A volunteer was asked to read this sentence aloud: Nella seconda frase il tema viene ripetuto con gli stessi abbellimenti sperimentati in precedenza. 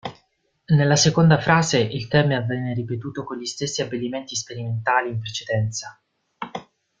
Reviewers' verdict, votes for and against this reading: rejected, 0, 2